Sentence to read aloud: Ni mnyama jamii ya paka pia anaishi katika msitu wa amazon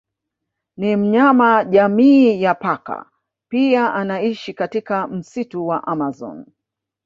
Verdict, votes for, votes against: accepted, 2, 1